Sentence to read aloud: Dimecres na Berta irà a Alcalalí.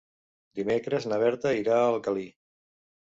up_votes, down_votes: 1, 2